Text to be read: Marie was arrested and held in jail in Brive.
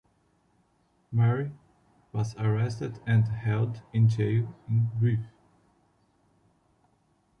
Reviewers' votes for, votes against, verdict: 1, 2, rejected